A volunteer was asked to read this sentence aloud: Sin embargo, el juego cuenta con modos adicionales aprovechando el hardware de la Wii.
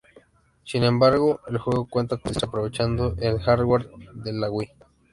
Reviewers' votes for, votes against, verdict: 0, 2, rejected